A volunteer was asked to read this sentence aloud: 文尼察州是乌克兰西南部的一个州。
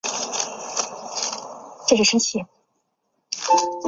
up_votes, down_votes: 1, 4